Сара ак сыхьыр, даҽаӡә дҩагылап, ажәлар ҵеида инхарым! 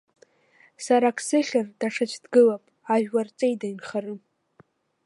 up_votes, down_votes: 1, 2